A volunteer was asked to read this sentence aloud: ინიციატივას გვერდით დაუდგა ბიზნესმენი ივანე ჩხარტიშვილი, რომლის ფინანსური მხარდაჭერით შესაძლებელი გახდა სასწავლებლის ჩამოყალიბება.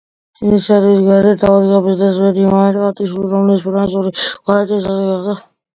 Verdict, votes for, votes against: rejected, 0, 2